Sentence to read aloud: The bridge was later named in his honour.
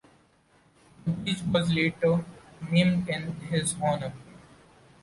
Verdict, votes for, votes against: rejected, 1, 2